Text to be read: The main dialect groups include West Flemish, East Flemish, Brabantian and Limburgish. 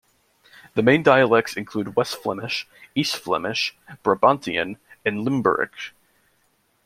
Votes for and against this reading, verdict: 1, 2, rejected